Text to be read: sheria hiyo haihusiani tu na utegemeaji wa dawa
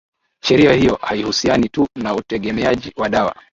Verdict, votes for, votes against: accepted, 2, 0